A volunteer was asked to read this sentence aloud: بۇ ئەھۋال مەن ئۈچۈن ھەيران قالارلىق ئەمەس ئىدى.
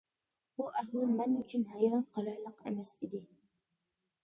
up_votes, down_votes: 1, 2